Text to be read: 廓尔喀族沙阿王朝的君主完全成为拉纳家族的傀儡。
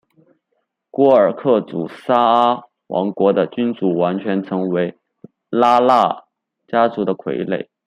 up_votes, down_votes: 2, 0